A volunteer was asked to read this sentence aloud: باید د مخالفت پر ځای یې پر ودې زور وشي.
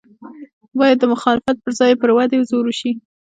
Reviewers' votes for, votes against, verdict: 2, 0, accepted